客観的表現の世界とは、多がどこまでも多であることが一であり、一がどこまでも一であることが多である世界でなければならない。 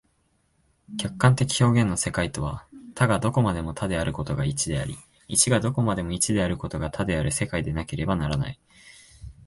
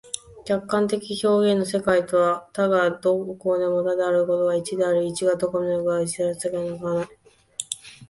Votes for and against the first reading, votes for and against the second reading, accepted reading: 2, 0, 0, 2, first